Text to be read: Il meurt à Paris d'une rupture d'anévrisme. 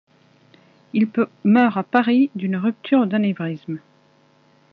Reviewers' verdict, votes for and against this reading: rejected, 0, 2